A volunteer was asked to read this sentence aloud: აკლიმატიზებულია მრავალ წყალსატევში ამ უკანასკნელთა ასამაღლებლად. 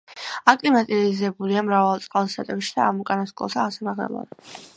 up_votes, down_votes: 1, 2